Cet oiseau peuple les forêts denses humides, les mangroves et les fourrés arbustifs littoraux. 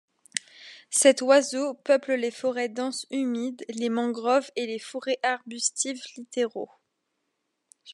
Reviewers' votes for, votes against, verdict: 0, 2, rejected